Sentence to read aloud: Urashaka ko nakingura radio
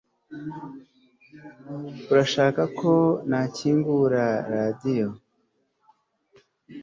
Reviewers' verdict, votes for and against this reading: accepted, 2, 0